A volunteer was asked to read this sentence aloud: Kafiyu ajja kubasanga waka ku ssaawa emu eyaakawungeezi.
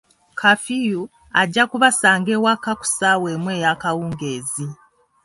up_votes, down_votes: 1, 2